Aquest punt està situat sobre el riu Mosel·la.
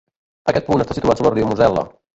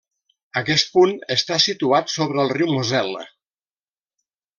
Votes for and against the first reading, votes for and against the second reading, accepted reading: 0, 2, 2, 0, second